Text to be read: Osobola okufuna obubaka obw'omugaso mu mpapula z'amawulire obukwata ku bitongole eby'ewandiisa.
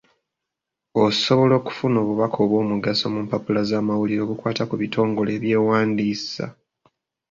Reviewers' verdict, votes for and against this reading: accepted, 2, 0